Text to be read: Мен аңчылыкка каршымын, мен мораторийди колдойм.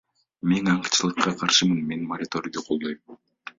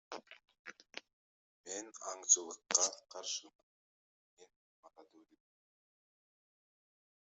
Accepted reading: first